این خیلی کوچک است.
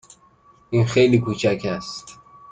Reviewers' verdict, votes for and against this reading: accepted, 2, 0